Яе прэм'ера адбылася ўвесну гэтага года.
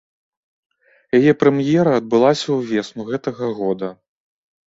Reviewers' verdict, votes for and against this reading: accepted, 2, 0